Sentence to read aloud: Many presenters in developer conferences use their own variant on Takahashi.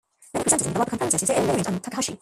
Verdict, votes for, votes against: rejected, 0, 2